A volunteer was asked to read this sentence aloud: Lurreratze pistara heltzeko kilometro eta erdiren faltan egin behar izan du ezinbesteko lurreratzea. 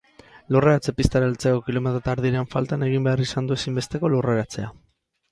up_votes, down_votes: 2, 2